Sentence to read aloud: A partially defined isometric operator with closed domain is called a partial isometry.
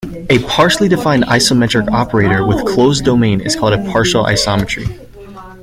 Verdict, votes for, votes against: accepted, 2, 1